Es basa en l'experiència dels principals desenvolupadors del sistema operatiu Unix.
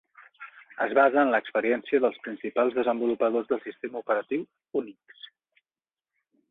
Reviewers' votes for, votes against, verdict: 3, 0, accepted